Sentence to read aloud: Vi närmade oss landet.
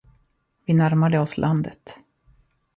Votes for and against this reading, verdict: 2, 1, accepted